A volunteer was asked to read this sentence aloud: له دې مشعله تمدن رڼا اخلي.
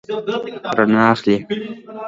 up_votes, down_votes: 0, 2